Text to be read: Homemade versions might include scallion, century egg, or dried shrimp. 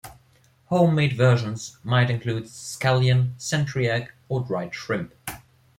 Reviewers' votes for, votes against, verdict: 1, 2, rejected